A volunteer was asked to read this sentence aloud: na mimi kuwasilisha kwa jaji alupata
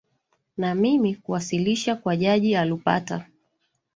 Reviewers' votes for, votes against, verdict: 2, 0, accepted